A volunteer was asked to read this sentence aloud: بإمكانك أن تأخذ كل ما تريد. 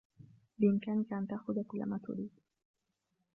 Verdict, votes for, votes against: accepted, 2, 1